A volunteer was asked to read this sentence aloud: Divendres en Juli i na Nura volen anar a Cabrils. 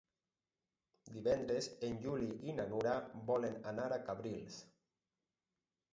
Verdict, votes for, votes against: rejected, 2, 2